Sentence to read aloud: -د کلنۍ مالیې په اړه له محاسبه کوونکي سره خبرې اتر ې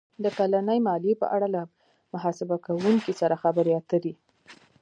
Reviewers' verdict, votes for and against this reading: rejected, 1, 2